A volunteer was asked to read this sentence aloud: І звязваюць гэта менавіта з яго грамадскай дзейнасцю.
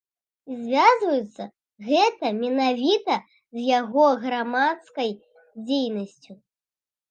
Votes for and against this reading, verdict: 0, 2, rejected